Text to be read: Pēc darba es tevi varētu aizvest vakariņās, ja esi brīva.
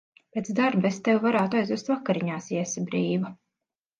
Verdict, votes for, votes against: accepted, 2, 0